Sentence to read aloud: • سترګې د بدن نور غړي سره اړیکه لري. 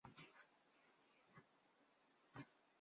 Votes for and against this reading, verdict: 0, 2, rejected